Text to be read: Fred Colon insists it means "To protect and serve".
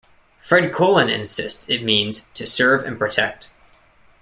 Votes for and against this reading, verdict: 1, 2, rejected